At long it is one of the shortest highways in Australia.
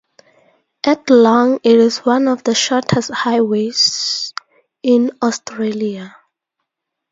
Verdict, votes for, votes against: accepted, 2, 0